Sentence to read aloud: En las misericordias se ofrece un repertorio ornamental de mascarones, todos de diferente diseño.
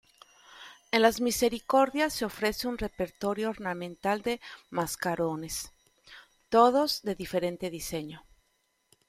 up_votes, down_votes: 2, 0